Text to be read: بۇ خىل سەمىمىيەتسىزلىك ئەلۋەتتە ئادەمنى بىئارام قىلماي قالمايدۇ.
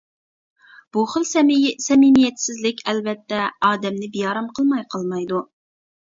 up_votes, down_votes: 1, 2